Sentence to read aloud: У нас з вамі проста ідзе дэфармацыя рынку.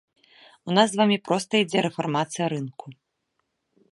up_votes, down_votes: 0, 2